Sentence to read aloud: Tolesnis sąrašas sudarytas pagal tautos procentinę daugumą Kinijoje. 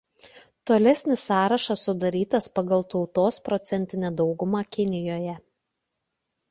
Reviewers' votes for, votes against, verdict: 2, 0, accepted